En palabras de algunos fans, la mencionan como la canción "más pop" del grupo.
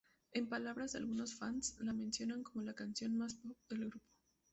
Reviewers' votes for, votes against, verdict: 2, 0, accepted